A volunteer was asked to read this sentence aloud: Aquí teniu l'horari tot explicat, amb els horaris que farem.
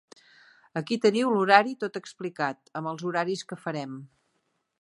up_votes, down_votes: 3, 0